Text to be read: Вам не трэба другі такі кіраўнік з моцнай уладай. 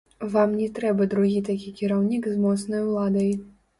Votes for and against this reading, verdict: 0, 2, rejected